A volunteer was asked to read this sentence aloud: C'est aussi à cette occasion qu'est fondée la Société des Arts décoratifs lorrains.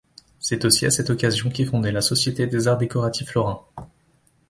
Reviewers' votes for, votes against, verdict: 1, 2, rejected